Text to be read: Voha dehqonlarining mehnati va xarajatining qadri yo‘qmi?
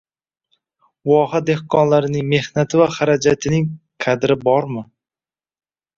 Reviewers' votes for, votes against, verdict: 0, 2, rejected